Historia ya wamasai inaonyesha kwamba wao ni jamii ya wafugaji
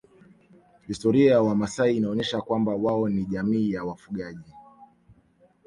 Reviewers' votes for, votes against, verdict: 0, 2, rejected